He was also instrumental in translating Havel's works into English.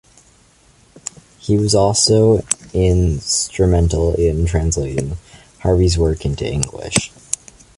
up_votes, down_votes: 2, 0